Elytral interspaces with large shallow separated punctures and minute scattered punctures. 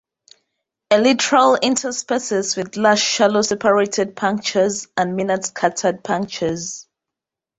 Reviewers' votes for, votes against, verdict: 3, 0, accepted